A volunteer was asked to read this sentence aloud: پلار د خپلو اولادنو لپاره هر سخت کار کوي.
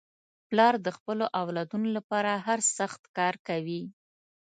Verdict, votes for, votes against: accepted, 2, 0